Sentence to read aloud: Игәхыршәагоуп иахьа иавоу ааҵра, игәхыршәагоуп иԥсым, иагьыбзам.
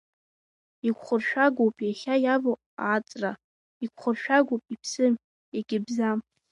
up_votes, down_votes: 1, 2